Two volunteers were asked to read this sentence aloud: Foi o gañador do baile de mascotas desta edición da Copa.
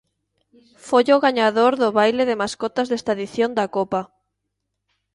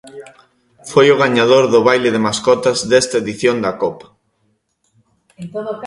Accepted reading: first